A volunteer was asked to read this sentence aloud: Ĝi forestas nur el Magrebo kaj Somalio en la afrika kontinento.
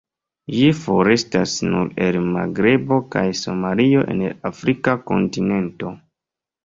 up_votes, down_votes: 2, 0